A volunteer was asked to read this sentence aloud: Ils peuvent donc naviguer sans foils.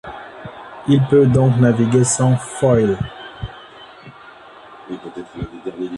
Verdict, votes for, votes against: rejected, 0, 2